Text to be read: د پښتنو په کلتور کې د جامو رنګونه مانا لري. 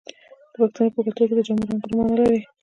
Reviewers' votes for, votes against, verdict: 1, 2, rejected